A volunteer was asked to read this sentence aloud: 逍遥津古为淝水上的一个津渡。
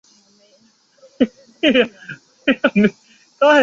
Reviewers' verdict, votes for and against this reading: rejected, 0, 2